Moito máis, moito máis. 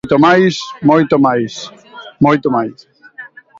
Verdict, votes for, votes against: rejected, 0, 2